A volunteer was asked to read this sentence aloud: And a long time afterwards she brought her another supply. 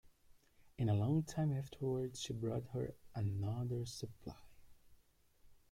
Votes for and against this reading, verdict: 1, 2, rejected